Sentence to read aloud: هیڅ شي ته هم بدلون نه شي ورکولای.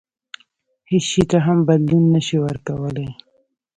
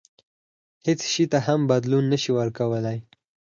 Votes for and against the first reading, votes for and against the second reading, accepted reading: 1, 2, 4, 2, second